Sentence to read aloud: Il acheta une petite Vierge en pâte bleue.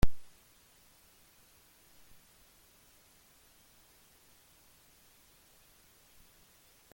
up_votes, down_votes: 0, 2